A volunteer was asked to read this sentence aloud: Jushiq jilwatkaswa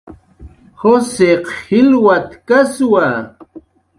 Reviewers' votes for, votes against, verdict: 2, 0, accepted